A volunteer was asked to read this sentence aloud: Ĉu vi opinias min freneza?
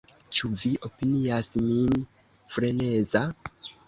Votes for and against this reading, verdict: 0, 2, rejected